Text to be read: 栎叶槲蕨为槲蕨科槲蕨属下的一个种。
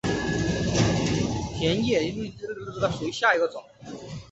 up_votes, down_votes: 0, 2